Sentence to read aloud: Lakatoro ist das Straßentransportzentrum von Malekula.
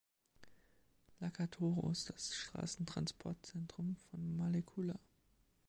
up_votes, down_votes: 2, 0